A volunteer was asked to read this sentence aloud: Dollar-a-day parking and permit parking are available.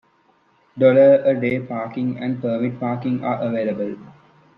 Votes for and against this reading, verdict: 2, 0, accepted